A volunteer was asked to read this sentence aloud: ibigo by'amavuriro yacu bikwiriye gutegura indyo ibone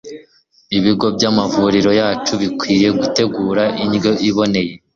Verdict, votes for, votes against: rejected, 1, 2